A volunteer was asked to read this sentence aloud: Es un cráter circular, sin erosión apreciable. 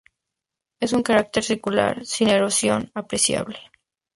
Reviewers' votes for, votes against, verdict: 2, 0, accepted